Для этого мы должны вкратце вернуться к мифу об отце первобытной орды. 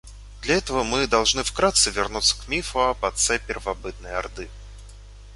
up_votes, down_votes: 2, 0